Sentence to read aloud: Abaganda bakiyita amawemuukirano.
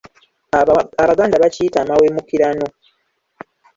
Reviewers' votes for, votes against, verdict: 1, 2, rejected